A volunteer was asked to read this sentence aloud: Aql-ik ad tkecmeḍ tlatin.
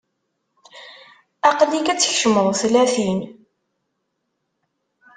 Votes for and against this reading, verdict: 2, 0, accepted